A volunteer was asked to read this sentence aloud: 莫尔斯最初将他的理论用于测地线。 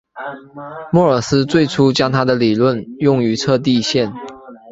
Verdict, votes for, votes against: accepted, 3, 0